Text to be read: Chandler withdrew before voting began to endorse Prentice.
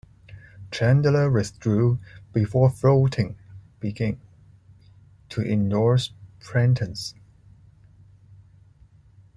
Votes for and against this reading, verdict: 1, 2, rejected